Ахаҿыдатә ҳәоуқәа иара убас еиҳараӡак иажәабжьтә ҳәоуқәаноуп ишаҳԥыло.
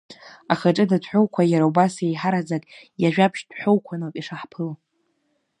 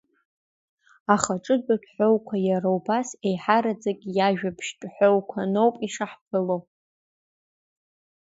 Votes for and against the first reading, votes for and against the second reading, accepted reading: 1, 2, 2, 1, second